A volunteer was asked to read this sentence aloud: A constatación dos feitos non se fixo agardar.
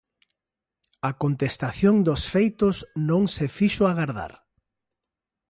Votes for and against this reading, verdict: 0, 2, rejected